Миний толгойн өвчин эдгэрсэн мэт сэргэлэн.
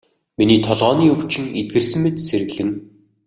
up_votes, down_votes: 0, 2